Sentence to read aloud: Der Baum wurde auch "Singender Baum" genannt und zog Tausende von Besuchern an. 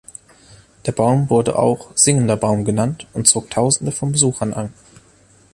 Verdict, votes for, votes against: accepted, 2, 0